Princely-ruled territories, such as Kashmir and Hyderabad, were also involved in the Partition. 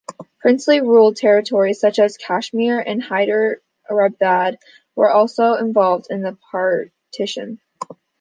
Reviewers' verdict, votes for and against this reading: accepted, 2, 0